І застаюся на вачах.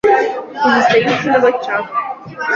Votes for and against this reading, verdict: 0, 2, rejected